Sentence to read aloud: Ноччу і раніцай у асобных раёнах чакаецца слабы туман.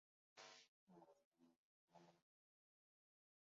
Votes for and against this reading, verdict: 0, 2, rejected